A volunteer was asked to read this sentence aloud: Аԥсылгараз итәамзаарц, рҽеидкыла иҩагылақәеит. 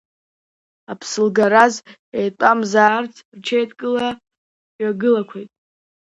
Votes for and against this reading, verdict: 0, 2, rejected